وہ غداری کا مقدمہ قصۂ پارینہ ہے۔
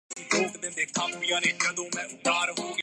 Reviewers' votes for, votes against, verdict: 0, 3, rejected